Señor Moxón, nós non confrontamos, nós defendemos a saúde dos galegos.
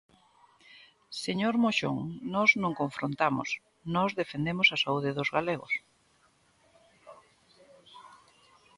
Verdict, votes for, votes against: accepted, 2, 0